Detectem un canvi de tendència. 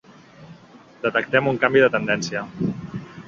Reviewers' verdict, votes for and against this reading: accepted, 3, 0